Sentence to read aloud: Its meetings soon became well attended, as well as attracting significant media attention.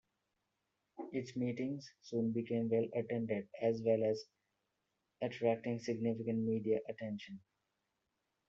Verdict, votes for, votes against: accepted, 2, 0